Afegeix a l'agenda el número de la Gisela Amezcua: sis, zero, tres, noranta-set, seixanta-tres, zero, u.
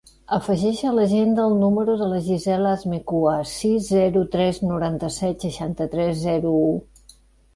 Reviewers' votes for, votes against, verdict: 0, 2, rejected